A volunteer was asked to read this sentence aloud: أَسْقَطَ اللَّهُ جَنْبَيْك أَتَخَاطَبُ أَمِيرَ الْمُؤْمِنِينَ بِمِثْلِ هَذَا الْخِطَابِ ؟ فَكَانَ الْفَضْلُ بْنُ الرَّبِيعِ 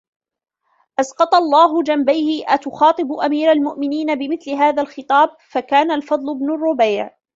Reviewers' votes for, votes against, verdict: 1, 2, rejected